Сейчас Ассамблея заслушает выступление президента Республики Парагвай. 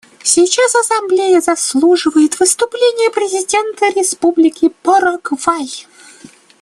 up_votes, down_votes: 1, 2